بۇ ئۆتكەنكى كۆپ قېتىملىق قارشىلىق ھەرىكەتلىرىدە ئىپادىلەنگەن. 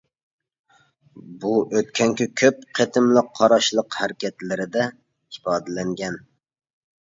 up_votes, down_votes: 1, 2